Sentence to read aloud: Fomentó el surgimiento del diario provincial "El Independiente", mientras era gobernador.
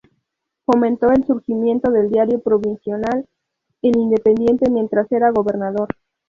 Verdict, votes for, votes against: rejected, 0, 4